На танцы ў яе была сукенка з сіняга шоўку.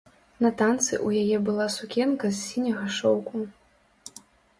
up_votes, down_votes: 2, 0